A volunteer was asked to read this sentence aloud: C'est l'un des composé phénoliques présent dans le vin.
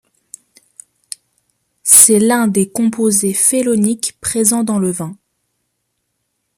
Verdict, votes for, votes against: rejected, 0, 2